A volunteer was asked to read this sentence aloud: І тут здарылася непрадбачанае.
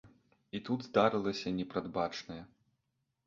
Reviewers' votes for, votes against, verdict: 2, 0, accepted